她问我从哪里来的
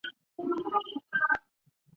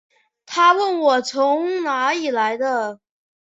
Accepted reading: second